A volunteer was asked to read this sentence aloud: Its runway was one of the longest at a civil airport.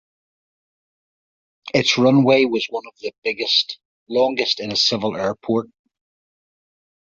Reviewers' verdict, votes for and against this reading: accepted, 2, 0